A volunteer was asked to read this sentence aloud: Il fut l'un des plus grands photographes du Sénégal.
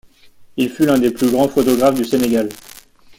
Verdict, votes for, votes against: accepted, 2, 0